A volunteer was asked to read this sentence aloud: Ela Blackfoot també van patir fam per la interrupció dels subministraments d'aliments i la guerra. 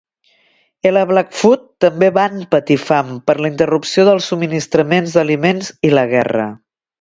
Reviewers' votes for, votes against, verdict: 1, 2, rejected